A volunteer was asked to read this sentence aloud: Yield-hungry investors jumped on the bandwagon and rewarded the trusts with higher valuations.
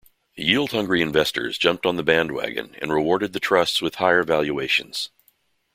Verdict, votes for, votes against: accepted, 2, 0